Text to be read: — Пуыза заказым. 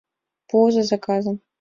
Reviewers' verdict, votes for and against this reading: accepted, 2, 0